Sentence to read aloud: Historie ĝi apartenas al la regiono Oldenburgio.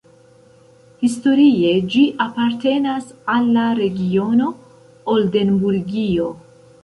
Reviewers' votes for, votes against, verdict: 0, 2, rejected